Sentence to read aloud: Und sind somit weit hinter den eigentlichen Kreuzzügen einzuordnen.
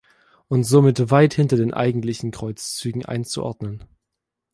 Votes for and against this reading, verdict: 1, 2, rejected